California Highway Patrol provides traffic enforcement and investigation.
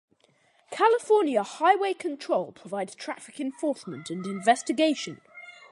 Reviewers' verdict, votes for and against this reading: rejected, 0, 2